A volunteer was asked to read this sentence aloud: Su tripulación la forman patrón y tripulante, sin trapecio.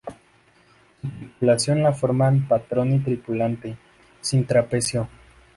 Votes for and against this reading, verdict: 2, 0, accepted